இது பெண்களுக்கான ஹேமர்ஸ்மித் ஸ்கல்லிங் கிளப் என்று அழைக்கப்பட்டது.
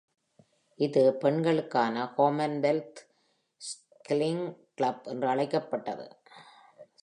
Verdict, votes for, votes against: rejected, 0, 2